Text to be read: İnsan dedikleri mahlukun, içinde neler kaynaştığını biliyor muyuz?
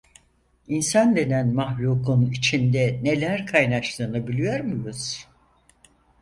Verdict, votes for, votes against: rejected, 0, 4